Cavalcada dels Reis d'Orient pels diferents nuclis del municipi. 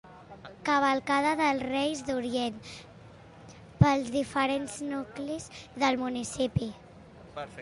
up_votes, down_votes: 2, 1